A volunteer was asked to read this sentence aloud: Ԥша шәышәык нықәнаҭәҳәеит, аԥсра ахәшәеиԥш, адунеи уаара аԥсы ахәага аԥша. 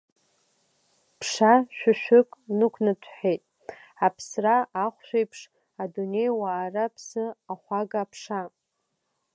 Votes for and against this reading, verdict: 2, 1, accepted